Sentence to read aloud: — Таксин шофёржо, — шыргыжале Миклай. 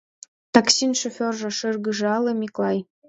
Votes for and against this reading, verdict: 2, 0, accepted